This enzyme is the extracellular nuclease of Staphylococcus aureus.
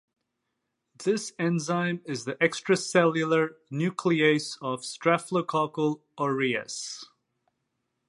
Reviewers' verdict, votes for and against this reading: rejected, 0, 2